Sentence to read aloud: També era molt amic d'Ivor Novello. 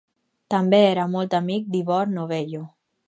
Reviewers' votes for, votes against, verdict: 4, 0, accepted